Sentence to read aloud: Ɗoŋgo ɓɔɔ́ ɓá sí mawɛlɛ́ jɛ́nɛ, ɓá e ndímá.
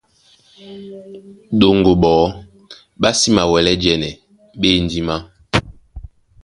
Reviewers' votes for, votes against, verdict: 2, 0, accepted